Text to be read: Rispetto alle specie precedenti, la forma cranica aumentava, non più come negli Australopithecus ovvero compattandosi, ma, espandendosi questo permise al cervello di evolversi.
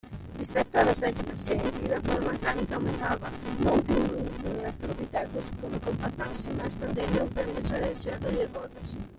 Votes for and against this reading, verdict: 0, 2, rejected